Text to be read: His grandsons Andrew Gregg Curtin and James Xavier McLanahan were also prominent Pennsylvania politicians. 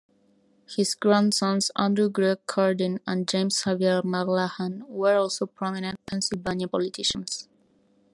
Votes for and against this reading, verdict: 1, 2, rejected